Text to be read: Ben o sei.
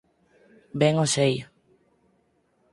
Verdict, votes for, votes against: accepted, 4, 0